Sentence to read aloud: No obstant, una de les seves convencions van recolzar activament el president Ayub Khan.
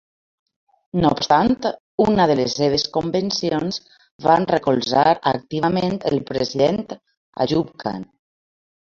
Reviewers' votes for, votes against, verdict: 2, 0, accepted